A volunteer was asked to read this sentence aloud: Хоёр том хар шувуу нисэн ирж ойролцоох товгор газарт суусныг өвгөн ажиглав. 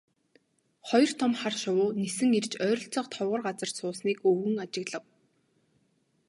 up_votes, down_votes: 2, 2